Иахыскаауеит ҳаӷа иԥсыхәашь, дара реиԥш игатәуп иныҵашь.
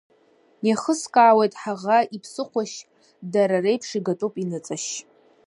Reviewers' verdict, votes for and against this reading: accepted, 2, 0